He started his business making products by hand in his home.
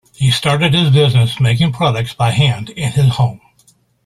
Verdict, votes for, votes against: accepted, 2, 0